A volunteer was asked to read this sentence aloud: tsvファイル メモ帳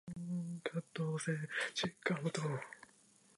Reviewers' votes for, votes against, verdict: 1, 3, rejected